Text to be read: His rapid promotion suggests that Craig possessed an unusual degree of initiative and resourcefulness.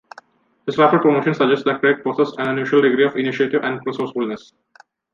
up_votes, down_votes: 1, 2